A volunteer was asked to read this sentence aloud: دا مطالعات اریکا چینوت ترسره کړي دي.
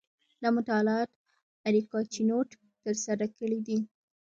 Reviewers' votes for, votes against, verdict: 1, 2, rejected